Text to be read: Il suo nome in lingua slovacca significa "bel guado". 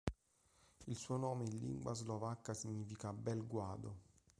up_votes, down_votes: 1, 2